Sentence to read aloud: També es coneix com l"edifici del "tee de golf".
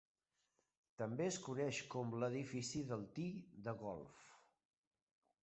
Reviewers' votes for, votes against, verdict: 2, 0, accepted